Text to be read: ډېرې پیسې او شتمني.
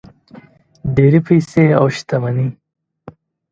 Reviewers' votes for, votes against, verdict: 2, 0, accepted